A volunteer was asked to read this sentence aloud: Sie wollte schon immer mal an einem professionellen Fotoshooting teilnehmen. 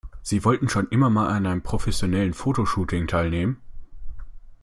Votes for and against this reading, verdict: 1, 2, rejected